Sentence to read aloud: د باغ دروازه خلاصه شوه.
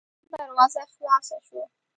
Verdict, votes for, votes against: rejected, 0, 2